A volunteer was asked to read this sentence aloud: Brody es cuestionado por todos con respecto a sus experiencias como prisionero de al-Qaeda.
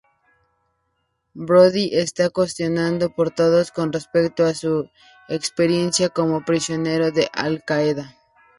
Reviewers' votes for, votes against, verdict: 0, 2, rejected